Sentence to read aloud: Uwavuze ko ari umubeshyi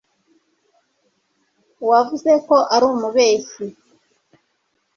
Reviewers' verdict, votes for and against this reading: rejected, 0, 2